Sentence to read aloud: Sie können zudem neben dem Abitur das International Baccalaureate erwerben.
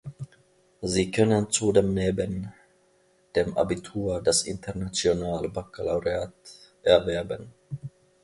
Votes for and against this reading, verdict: 0, 2, rejected